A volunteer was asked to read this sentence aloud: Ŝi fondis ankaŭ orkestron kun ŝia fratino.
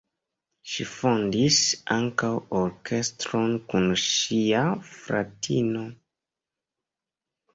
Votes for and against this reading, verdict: 2, 0, accepted